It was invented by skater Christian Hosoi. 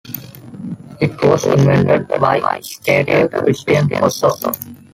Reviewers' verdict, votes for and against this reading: accepted, 2, 1